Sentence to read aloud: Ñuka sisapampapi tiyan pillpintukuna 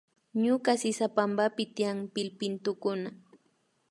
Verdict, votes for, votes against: accepted, 2, 0